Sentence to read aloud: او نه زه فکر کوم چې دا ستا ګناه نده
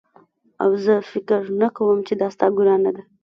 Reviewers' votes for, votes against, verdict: 0, 2, rejected